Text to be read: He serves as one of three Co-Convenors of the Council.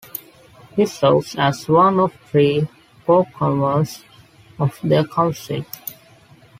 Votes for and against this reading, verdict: 0, 2, rejected